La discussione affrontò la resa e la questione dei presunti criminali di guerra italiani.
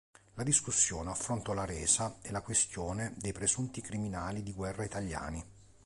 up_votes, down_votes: 2, 0